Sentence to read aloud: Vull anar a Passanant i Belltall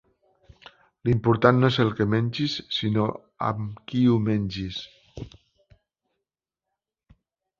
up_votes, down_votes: 0, 2